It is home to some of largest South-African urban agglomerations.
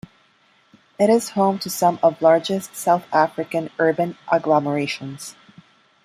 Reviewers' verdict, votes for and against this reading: accepted, 2, 1